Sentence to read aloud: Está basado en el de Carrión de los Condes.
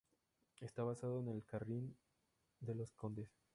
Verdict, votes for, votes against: rejected, 0, 2